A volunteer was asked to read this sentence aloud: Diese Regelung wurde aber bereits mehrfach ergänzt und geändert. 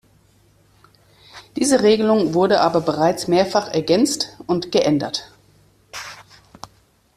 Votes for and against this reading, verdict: 2, 0, accepted